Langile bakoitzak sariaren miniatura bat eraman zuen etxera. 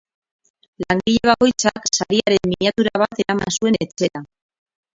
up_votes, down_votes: 2, 6